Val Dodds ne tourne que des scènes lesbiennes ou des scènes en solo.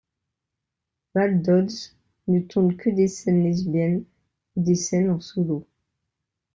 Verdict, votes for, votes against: accepted, 2, 0